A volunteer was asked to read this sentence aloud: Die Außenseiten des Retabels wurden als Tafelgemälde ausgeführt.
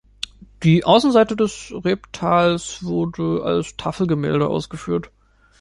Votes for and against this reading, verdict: 0, 2, rejected